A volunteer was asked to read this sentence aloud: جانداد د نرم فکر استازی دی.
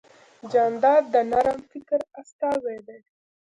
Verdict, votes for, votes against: accepted, 2, 1